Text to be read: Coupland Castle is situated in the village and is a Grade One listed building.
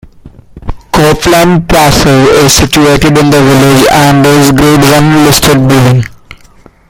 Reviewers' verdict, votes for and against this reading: rejected, 0, 2